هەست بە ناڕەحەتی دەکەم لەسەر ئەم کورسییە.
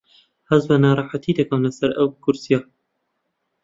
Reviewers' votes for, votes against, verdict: 0, 2, rejected